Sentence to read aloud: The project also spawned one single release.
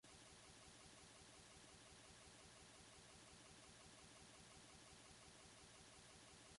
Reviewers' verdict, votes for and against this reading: rejected, 0, 2